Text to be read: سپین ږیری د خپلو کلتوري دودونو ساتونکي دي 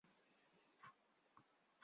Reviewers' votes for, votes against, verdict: 0, 4, rejected